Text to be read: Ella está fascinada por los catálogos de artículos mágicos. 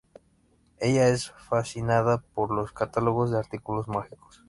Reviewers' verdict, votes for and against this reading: rejected, 0, 2